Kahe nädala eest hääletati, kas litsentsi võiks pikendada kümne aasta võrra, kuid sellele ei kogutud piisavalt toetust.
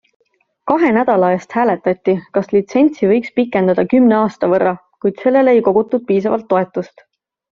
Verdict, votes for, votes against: accepted, 2, 0